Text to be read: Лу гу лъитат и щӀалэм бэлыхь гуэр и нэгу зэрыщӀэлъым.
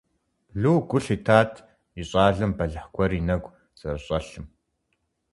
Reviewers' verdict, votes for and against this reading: accepted, 4, 0